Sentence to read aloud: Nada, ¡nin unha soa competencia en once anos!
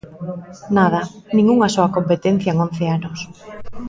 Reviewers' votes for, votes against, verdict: 1, 2, rejected